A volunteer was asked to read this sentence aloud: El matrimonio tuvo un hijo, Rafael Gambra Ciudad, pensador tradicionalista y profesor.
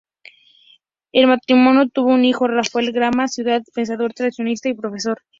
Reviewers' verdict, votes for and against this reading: accepted, 2, 0